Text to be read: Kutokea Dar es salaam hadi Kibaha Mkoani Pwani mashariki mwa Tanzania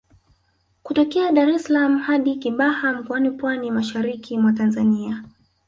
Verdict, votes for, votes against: accepted, 2, 1